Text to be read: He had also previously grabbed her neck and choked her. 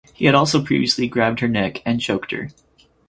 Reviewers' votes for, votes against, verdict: 6, 0, accepted